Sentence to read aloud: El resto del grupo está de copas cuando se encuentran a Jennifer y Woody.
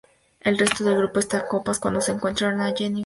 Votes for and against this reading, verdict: 0, 2, rejected